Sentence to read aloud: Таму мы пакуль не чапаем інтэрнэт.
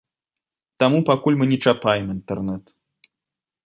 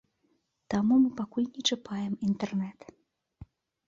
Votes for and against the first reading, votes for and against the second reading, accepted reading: 1, 2, 2, 0, second